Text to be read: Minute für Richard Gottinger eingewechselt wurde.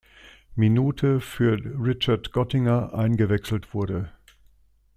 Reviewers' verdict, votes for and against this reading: accepted, 2, 1